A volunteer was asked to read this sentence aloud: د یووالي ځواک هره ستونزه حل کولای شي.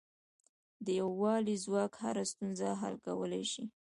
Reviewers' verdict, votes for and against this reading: accepted, 2, 0